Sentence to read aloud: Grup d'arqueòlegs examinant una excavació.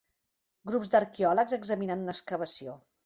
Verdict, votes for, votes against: rejected, 0, 2